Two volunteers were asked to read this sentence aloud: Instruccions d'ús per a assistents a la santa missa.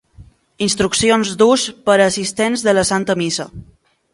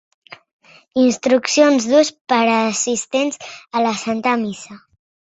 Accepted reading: second